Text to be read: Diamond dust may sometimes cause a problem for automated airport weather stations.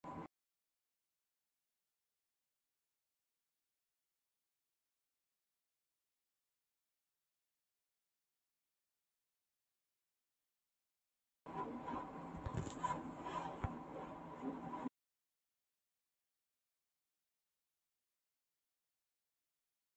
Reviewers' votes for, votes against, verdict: 0, 2, rejected